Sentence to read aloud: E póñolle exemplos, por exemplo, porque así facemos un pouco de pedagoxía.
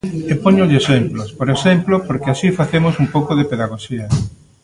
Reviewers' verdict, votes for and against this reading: accepted, 2, 0